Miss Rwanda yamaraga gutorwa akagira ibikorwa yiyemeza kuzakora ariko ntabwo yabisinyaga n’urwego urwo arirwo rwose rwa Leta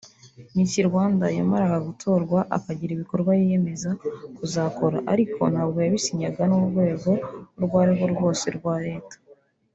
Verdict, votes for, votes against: rejected, 0, 2